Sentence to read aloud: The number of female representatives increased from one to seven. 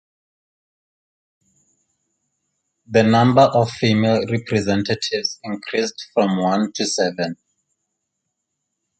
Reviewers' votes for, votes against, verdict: 2, 0, accepted